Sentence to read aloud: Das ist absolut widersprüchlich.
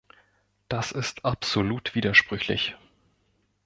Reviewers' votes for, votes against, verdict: 2, 0, accepted